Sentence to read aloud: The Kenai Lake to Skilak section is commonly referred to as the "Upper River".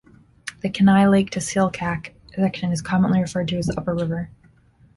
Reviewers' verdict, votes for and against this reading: rejected, 1, 2